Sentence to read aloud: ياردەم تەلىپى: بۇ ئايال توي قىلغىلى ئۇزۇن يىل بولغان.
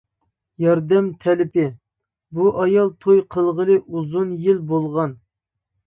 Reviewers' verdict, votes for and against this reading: accepted, 2, 0